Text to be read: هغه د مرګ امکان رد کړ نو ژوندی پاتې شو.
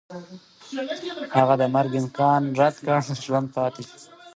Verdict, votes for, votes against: accepted, 2, 1